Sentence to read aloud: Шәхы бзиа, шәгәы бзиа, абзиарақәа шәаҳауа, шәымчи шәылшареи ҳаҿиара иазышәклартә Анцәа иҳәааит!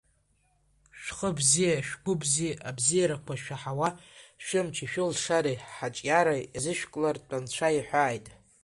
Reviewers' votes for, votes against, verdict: 2, 1, accepted